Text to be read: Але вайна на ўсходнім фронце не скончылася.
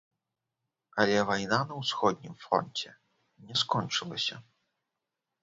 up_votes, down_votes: 1, 2